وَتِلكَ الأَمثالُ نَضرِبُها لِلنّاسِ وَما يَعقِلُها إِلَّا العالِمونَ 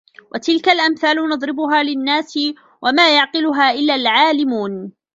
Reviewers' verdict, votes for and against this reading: accepted, 2, 0